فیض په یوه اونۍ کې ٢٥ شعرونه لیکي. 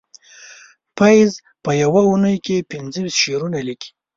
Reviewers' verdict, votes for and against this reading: rejected, 0, 2